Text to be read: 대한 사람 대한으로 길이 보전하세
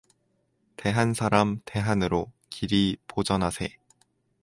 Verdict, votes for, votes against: accepted, 4, 0